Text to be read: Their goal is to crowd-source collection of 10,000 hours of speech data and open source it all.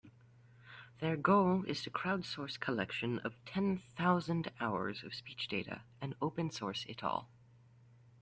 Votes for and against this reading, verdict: 0, 2, rejected